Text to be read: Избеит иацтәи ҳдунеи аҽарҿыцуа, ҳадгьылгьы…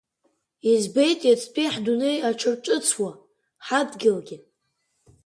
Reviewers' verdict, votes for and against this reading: accepted, 6, 1